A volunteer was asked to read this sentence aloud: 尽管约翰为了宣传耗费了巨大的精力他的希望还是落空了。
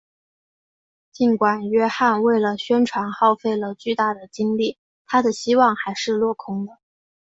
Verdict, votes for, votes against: accepted, 3, 0